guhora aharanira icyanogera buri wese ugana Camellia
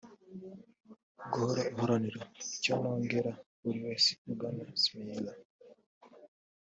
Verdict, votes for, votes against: rejected, 0, 2